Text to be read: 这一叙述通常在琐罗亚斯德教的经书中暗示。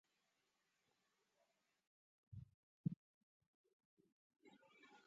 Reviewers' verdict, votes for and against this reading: rejected, 1, 5